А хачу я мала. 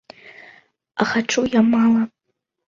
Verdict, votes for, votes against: accepted, 2, 0